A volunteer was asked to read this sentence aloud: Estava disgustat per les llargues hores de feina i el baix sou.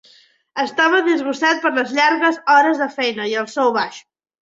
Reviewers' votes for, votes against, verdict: 1, 2, rejected